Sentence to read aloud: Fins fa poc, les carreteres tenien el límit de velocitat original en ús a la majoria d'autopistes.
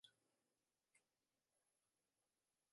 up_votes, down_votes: 0, 6